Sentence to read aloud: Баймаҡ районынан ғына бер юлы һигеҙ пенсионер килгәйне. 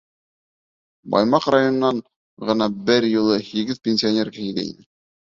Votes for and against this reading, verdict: 3, 0, accepted